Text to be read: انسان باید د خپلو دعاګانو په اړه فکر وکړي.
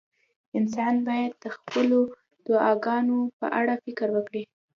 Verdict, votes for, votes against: accepted, 2, 0